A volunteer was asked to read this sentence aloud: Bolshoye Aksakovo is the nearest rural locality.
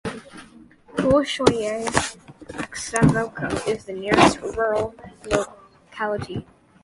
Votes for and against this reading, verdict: 0, 3, rejected